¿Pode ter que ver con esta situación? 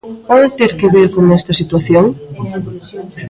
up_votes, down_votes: 1, 2